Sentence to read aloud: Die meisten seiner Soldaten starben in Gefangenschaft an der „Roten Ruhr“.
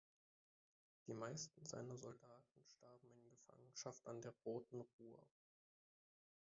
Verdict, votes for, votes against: rejected, 0, 3